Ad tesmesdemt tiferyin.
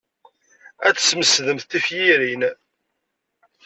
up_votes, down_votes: 1, 2